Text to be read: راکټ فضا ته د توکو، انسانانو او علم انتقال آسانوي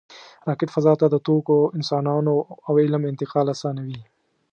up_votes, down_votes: 2, 0